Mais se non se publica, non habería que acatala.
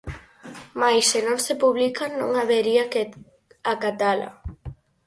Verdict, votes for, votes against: accepted, 4, 2